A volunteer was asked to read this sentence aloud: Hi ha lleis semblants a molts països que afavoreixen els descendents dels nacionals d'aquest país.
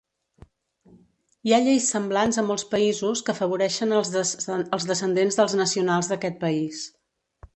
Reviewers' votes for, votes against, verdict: 0, 2, rejected